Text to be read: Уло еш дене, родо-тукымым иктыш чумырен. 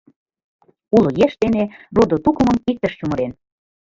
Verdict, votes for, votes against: accepted, 2, 0